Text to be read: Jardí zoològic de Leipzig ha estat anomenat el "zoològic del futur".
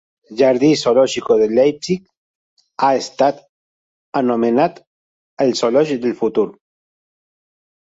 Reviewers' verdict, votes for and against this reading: rejected, 0, 2